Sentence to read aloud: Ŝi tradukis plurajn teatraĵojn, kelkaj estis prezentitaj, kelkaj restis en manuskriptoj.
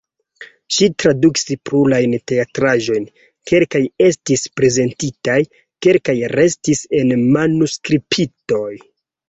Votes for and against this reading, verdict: 0, 2, rejected